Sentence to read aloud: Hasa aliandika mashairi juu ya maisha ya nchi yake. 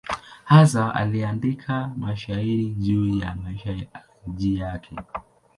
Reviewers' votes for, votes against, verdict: 0, 2, rejected